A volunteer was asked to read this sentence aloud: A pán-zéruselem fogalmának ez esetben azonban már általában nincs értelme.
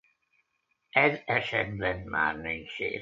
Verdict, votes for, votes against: rejected, 0, 2